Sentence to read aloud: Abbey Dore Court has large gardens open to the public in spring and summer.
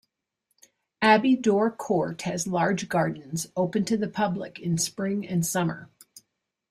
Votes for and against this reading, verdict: 2, 0, accepted